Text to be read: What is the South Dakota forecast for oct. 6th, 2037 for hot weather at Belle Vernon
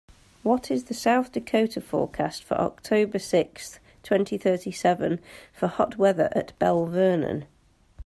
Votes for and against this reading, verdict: 0, 2, rejected